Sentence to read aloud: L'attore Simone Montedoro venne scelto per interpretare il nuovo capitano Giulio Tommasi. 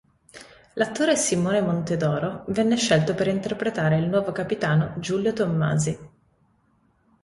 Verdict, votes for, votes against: accepted, 2, 0